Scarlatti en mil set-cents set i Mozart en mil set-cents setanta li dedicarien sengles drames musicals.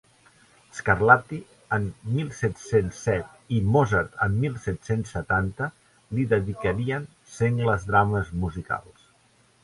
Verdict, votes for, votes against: accepted, 2, 0